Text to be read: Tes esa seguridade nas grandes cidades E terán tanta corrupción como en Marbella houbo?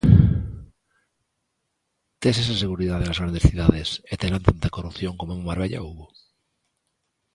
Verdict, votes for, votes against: accepted, 2, 0